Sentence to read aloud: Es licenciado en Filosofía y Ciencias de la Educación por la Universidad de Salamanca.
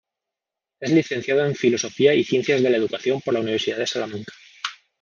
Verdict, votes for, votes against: accepted, 3, 0